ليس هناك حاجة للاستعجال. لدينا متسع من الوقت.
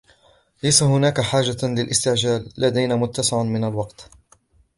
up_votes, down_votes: 2, 0